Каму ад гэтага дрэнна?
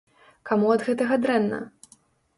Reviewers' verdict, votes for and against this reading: accepted, 2, 0